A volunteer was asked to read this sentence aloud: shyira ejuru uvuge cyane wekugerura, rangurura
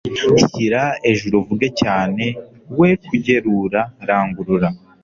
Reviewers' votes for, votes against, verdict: 2, 0, accepted